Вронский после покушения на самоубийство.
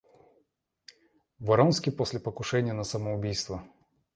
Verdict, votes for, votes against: accepted, 2, 0